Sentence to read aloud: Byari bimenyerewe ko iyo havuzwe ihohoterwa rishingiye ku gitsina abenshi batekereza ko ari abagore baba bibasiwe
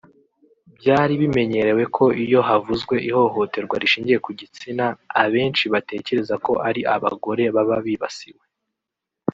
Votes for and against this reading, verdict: 1, 2, rejected